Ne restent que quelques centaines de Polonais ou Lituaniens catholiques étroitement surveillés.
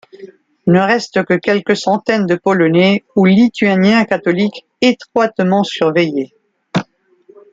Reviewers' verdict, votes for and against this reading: accepted, 2, 0